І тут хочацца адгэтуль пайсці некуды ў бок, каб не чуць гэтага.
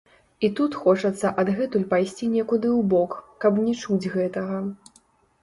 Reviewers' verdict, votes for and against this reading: rejected, 1, 3